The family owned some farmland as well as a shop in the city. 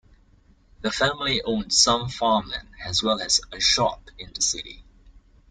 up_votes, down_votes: 2, 0